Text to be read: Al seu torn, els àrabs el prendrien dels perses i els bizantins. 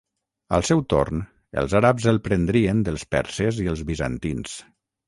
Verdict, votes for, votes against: accepted, 6, 0